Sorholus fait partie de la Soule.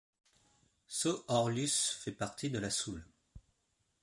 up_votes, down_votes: 1, 2